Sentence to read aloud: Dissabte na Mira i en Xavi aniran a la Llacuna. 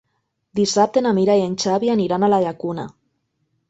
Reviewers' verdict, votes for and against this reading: accepted, 3, 0